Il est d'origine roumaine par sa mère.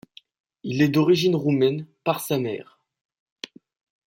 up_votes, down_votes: 1, 2